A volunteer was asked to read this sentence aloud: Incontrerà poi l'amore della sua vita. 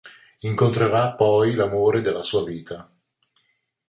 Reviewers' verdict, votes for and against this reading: accepted, 2, 0